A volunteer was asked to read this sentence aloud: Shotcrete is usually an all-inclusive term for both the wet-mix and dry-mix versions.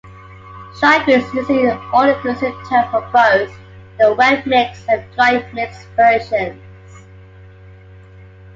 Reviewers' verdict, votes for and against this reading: rejected, 1, 2